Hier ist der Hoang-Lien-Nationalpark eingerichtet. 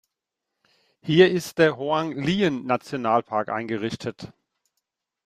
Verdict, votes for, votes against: accepted, 2, 0